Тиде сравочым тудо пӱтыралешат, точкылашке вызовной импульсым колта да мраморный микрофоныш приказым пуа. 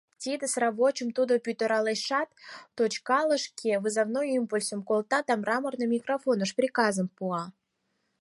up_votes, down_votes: 2, 4